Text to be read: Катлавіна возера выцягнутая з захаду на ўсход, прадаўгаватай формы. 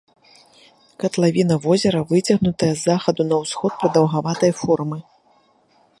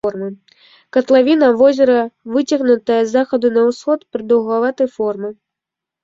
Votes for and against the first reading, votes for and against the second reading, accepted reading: 2, 0, 1, 2, first